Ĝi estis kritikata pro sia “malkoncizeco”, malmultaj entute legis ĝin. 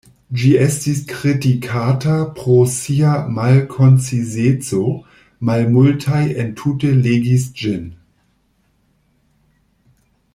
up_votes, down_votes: 2, 0